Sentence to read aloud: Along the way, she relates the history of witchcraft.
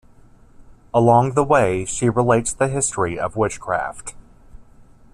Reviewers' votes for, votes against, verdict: 2, 0, accepted